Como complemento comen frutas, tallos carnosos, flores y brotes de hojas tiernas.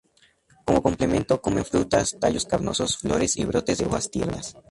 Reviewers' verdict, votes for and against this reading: rejected, 0, 4